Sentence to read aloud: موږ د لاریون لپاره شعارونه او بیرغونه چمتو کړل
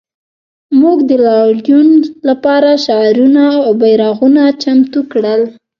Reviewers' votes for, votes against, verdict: 1, 2, rejected